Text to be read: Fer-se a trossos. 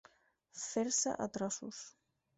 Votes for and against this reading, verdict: 6, 2, accepted